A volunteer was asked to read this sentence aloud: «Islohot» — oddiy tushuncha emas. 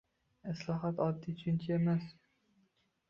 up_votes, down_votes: 2, 0